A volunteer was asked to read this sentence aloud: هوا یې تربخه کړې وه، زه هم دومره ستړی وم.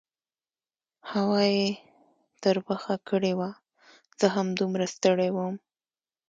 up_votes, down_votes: 2, 0